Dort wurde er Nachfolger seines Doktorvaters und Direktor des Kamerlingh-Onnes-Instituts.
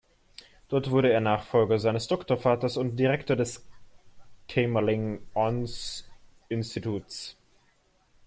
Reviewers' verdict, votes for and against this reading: rejected, 1, 2